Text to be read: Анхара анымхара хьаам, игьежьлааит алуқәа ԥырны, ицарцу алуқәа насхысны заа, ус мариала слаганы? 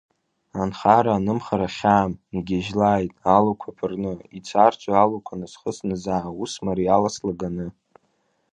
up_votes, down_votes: 0, 2